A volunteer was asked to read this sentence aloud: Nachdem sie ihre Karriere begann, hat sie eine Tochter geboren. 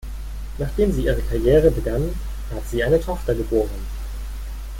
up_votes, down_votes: 2, 0